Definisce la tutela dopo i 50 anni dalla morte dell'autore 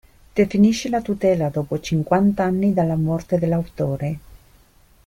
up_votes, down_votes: 0, 2